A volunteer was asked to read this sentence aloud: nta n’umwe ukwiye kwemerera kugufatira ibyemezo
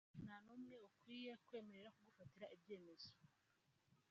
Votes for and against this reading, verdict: 1, 3, rejected